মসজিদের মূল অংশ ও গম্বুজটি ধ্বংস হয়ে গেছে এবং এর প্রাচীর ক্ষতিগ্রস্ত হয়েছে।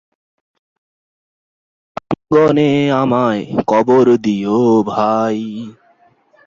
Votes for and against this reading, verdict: 0, 2, rejected